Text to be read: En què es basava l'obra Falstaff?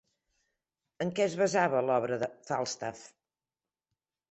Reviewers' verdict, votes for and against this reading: rejected, 1, 2